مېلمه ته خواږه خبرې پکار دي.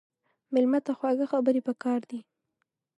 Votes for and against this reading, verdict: 3, 0, accepted